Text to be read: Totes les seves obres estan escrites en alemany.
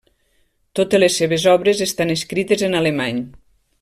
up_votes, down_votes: 3, 0